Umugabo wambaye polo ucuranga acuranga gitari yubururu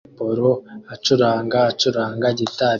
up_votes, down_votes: 0, 2